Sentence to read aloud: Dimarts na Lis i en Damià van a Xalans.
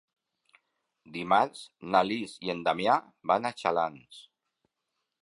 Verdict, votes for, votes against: accepted, 2, 0